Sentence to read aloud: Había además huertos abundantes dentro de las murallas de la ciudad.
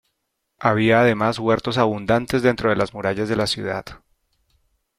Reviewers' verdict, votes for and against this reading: accepted, 2, 0